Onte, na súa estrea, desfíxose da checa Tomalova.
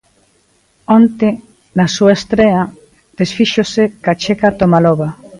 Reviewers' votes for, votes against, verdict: 0, 2, rejected